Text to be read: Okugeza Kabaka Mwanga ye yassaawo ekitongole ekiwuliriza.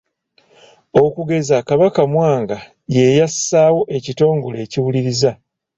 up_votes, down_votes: 2, 0